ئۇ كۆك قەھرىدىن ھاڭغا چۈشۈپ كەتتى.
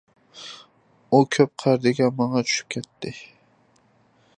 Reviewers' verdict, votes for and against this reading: rejected, 0, 2